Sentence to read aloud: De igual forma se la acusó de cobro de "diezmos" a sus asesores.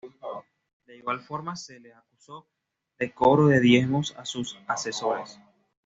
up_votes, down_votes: 1, 2